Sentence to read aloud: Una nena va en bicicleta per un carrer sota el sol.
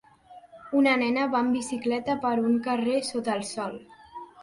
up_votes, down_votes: 3, 0